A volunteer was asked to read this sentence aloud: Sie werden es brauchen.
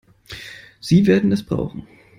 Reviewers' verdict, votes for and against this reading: accepted, 2, 0